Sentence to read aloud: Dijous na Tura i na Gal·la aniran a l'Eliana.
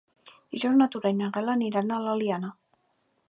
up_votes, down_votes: 1, 2